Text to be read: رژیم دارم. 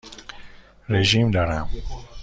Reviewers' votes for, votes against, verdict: 2, 0, accepted